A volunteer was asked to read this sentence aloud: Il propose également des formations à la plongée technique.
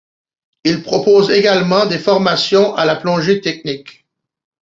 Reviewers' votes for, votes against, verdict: 2, 0, accepted